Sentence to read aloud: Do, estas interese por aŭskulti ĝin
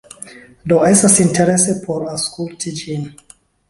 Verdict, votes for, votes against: accepted, 2, 0